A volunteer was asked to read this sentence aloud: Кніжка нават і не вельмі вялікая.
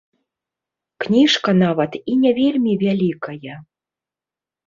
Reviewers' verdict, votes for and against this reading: accepted, 2, 0